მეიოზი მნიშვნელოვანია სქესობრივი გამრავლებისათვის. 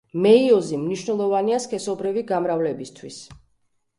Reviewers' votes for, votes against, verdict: 1, 2, rejected